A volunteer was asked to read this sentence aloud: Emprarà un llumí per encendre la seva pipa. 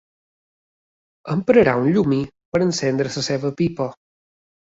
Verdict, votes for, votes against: accepted, 2, 1